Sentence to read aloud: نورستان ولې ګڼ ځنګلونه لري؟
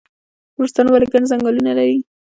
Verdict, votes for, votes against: rejected, 0, 2